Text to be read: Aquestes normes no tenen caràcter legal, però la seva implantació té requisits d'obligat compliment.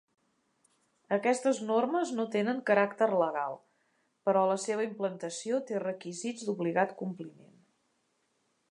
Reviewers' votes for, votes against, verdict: 3, 1, accepted